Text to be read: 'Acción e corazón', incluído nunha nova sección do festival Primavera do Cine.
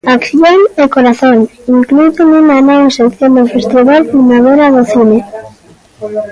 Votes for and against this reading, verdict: 2, 1, accepted